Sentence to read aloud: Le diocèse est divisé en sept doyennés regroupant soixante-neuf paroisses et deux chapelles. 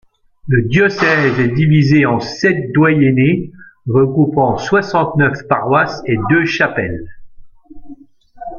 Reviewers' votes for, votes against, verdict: 2, 0, accepted